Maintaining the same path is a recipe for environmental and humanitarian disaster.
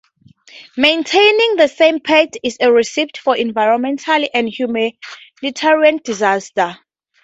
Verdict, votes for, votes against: rejected, 2, 2